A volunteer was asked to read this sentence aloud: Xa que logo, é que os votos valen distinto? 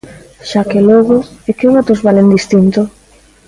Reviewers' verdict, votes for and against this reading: rejected, 0, 2